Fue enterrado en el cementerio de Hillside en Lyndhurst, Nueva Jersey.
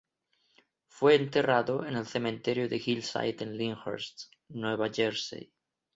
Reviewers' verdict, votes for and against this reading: rejected, 0, 2